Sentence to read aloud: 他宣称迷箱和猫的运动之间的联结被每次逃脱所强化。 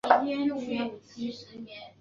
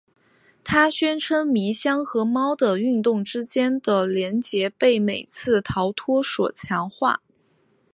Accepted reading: second